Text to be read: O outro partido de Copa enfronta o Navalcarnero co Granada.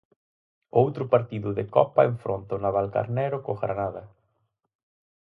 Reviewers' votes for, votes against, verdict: 4, 0, accepted